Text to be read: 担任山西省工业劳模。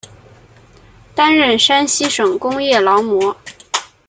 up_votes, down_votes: 2, 0